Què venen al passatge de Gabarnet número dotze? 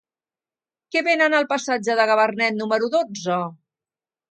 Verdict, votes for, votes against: accepted, 2, 0